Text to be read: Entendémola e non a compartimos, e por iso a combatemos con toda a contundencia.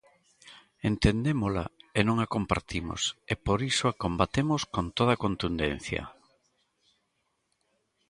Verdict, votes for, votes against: accepted, 2, 0